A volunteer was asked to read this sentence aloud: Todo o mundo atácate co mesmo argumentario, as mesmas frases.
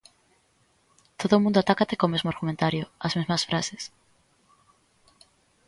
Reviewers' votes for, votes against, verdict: 2, 0, accepted